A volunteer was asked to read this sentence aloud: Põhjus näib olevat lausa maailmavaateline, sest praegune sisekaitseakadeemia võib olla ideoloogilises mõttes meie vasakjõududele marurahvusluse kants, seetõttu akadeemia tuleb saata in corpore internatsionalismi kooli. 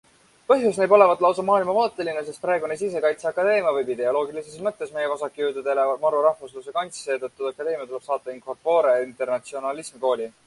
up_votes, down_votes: 1, 2